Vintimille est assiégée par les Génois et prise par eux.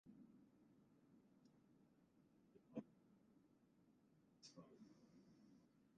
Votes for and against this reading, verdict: 0, 2, rejected